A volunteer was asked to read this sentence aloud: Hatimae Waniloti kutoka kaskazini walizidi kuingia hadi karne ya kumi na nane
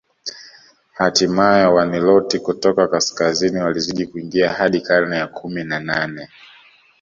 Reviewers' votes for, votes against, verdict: 2, 0, accepted